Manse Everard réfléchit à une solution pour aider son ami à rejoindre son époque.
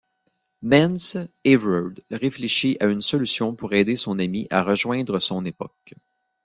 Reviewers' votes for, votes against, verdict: 1, 2, rejected